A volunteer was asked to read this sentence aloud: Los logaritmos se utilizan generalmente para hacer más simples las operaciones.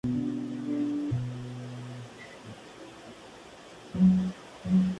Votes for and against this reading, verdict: 2, 2, rejected